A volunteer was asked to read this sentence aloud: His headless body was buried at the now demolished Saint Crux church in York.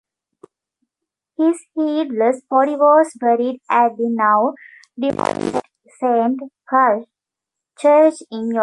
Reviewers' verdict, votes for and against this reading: rejected, 0, 2